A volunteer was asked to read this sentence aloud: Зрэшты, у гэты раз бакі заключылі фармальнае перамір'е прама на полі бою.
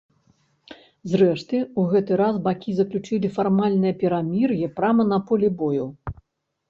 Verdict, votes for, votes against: accepted, 2, 0